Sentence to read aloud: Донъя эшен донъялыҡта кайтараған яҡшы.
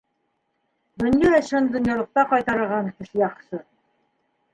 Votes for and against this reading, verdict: 2, 1, accepted